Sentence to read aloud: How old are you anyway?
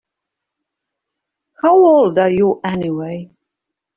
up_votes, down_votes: 2, 1